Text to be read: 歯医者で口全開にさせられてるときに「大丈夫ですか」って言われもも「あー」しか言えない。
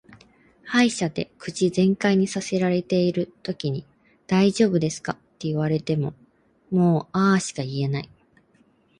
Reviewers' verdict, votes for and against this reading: accepted, 2, 1